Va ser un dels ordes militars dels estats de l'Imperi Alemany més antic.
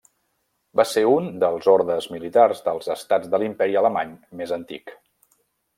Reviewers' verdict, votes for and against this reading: accepted, 3, 0